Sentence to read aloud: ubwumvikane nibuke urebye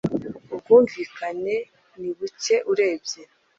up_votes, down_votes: 2, 0